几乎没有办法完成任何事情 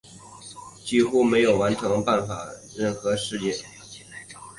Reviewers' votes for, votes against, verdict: 1, 2, rejected